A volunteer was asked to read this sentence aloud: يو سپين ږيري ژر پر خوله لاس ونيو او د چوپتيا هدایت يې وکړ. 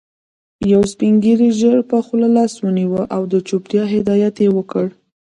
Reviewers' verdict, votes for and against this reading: rejected, 1, 2